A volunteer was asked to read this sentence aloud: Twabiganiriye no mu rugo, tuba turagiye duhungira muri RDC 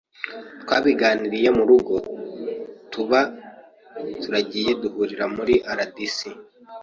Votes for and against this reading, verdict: 1, 2, rejected